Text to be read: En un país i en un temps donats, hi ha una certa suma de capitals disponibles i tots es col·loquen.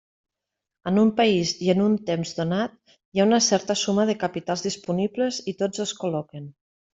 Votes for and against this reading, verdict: 1, 2, rejected